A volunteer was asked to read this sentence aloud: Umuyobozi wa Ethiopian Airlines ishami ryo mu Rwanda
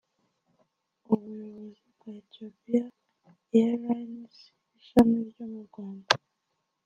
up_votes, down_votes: 0, 2